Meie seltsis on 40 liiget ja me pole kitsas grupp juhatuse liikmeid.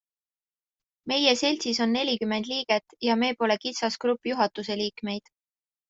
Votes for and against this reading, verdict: 0, 2, rejected